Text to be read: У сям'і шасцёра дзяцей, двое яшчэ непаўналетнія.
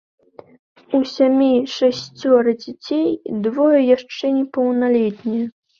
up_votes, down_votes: 2, 0